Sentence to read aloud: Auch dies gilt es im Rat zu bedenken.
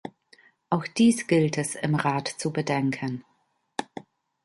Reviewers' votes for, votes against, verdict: 3, 0, accepted